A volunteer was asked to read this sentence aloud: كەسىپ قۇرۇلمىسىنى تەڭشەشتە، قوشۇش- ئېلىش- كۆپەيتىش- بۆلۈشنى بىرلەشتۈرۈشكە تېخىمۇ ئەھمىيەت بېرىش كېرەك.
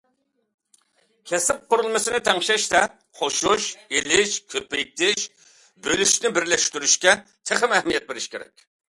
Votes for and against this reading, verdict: 2, 0, accepted